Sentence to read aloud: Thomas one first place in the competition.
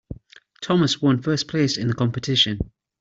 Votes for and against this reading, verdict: 2, 0, accepted